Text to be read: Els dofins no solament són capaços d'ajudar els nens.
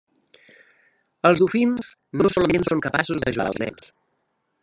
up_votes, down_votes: 0, 2